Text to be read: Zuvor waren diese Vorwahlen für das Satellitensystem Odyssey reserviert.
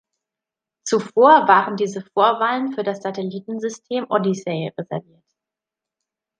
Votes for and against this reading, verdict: 1, 2, rejected